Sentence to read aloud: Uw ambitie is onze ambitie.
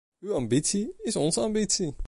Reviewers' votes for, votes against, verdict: 1, 2, rejected